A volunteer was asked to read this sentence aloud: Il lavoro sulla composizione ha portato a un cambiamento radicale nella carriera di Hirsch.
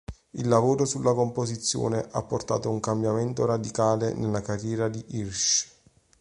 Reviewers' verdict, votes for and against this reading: accepted, 2, 0